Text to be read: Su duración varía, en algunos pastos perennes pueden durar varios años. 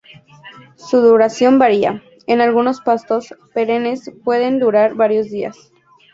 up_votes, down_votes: 0, 2